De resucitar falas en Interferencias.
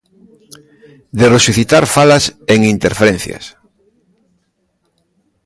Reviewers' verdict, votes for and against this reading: rejected, 1, 2